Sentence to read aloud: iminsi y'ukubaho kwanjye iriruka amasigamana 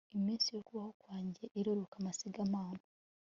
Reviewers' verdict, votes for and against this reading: accepted, 2, 0